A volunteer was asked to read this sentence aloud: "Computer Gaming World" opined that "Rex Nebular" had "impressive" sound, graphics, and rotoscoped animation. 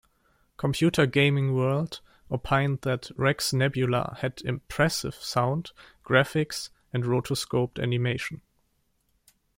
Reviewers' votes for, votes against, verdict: 2, 0, accepted